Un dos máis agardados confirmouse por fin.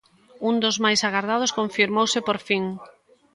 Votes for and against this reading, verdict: 2, 0, accepted